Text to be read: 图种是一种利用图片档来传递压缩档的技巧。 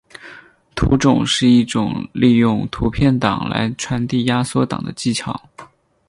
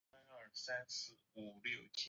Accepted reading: first